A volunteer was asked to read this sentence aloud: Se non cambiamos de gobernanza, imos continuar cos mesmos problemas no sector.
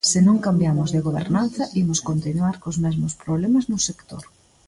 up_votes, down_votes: 1, 2